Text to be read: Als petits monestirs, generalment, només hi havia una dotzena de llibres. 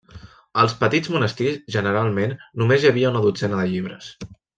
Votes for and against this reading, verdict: 3, 0, accepted